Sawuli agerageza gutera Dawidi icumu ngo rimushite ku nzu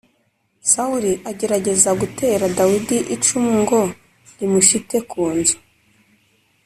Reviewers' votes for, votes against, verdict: 0, 2, rejected